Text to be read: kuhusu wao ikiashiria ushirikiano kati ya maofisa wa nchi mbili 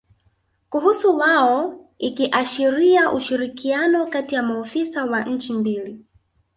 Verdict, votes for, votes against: rejected, 0, 2